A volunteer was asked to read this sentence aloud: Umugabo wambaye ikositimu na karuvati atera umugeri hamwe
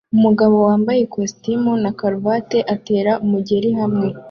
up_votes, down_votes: 2, 0